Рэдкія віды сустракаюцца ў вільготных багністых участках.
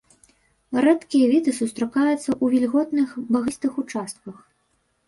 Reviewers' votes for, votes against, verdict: 0, 2, rejected